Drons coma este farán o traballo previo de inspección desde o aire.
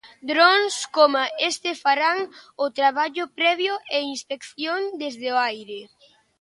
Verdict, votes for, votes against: rejected, 0, 2